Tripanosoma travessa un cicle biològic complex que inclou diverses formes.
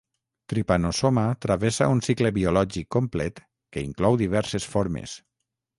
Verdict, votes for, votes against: rejected, 0, 3